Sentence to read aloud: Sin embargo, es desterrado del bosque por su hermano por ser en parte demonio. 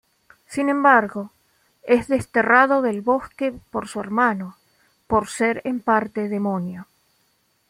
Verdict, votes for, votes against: accepted, 2, 0